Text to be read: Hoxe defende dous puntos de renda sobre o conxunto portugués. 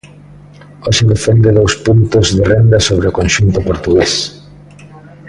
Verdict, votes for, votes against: accepted, 2, 0